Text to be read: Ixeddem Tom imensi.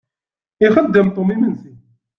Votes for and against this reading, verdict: 1, 2, rejected